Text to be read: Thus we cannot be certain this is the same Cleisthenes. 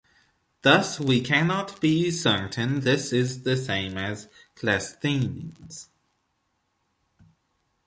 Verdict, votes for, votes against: rejected, 1, 2